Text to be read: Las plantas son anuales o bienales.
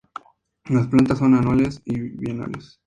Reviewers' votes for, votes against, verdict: 2, 0, accepted